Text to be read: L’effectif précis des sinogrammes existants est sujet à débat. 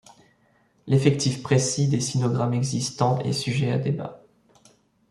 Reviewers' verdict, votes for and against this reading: accepted, 2, 0